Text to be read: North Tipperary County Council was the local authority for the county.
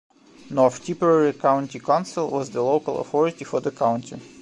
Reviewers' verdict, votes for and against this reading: rejected, 0, 2